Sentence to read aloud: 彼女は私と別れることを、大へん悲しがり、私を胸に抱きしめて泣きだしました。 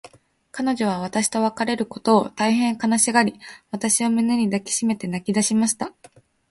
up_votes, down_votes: 4, 0